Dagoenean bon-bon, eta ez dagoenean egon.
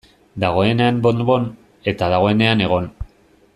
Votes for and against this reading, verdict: 0, 2, rejected